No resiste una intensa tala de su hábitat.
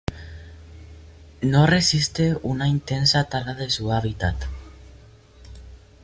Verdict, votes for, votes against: accepted, 2, 0